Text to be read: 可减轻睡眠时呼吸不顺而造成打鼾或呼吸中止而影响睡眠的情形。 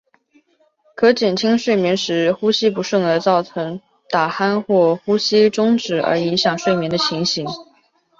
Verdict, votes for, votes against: accepted, 2, 0